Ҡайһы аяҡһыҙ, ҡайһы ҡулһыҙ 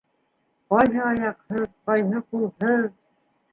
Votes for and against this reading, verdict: 2, 1, accepted